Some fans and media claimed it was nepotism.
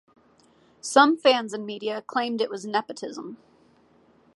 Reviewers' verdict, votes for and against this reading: accepted, 2, 0